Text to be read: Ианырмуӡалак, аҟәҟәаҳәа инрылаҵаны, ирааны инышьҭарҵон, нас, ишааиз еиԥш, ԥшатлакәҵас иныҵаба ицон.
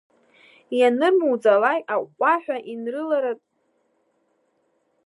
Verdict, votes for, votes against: rejected, 0, 2